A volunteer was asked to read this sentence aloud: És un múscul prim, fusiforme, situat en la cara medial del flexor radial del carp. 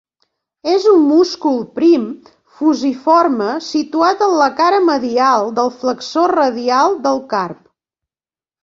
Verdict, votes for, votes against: accepted, 2, 0